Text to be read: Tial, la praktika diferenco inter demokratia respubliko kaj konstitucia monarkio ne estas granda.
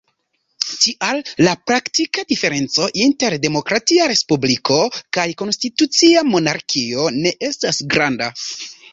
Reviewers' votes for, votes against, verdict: 2, 0, accepted